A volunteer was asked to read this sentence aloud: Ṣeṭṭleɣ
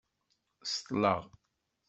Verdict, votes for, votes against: accepted, 2, 0